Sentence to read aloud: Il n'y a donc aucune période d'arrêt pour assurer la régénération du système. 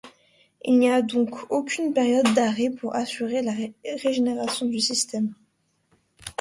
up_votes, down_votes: 0, 2